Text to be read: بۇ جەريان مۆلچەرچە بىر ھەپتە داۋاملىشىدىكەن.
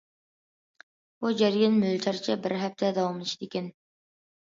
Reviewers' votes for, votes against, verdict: 2, 0, accepted